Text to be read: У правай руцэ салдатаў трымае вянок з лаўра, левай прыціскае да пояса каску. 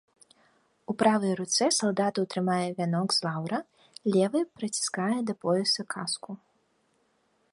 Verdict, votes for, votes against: accepted, 2, 0